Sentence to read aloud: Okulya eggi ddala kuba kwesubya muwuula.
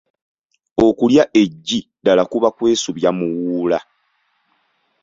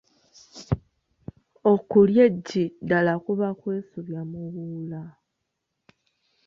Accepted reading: first